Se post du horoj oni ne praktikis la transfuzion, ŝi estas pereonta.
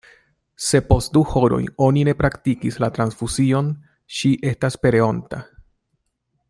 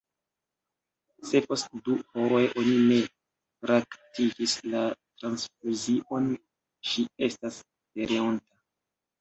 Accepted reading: first